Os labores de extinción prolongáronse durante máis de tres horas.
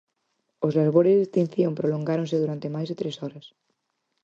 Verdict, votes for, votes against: accepted, 4, 0